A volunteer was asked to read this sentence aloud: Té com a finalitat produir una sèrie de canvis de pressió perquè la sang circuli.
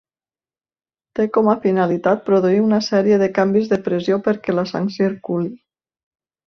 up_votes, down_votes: 2, 0